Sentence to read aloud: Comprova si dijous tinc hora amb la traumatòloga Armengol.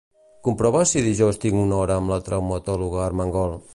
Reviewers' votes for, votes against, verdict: 0, 2, rejected